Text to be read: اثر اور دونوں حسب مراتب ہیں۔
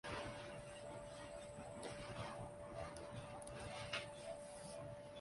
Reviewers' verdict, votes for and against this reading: rejected, 0, 2